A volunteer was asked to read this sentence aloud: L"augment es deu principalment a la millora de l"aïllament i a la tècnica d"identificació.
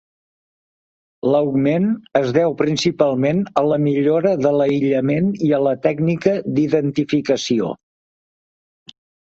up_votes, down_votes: 3, 0